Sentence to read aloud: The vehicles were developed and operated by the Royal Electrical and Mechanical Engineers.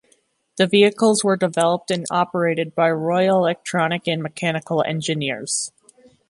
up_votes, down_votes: 1, 2